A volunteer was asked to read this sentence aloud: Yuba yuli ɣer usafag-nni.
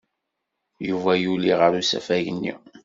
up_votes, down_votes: 2, 0